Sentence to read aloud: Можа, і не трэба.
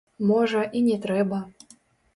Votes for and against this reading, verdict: 1, 2, rejected